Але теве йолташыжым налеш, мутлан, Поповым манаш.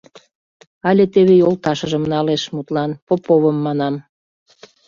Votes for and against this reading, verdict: 0, 2, rejected